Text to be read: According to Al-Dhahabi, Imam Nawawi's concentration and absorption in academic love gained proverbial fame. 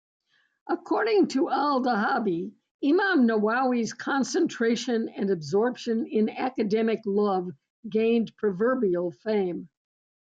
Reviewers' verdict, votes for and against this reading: rejected, 0, 2